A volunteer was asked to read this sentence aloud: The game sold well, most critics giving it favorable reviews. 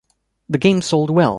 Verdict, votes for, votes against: rejected, 1, 2